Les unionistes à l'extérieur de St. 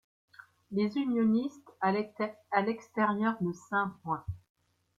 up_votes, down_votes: 1, 2